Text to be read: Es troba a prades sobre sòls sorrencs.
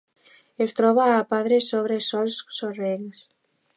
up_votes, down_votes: 1, 2